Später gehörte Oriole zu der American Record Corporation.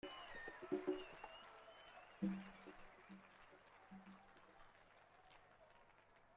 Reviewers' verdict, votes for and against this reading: rejected, 0, 2